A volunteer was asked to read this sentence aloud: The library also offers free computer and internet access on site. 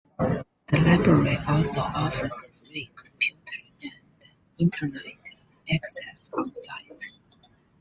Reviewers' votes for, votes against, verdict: 1, 2, rejected